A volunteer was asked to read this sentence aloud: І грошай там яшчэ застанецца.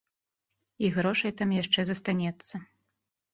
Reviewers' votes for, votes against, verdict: 2, 0, accepted